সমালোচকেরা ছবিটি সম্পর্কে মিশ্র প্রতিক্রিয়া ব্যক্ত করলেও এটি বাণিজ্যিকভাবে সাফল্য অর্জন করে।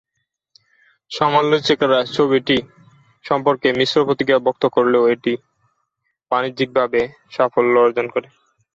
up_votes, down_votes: 0, 2